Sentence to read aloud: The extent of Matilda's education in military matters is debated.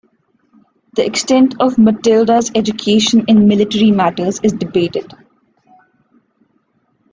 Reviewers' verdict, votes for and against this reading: accepted, 2, 0